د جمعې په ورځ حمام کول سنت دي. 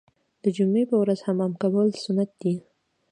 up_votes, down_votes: 2, 0